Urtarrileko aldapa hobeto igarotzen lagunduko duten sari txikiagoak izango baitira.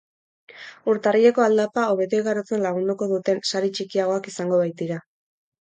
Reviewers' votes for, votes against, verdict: 4, 0, accepted